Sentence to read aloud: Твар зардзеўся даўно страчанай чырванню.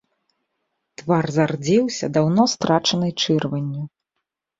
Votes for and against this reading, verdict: 2, 0, accepted